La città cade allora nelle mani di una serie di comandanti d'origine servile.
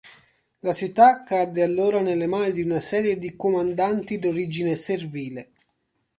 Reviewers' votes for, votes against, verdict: 1, 2, rejected